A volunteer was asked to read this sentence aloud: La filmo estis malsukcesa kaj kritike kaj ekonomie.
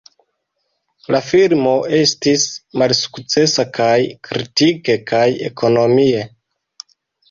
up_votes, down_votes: 2, 0